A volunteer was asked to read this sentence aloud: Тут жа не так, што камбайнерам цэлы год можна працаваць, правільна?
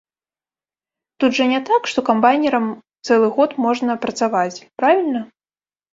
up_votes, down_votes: 2, 0